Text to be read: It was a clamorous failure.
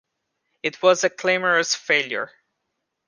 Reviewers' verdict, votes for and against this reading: rejected, 0, 2